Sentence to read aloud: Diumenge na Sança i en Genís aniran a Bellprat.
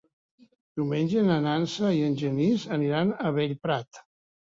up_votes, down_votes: 1, 2